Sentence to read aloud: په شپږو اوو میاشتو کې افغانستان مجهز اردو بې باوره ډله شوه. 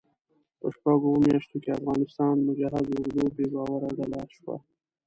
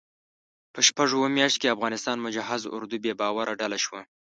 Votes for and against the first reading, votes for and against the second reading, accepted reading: 1, 2, 2, 0, second